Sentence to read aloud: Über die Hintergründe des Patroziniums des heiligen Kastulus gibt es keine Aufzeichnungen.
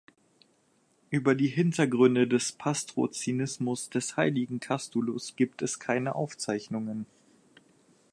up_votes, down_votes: 0, 4